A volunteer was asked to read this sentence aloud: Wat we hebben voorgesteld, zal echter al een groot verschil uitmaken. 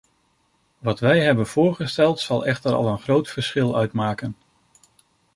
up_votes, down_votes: 1, 2